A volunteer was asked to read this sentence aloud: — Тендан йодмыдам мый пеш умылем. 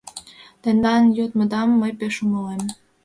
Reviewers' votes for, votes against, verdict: 2, 1, accepted